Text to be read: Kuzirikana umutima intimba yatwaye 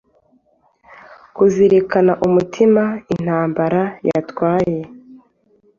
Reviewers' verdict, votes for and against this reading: rejected, 1, 2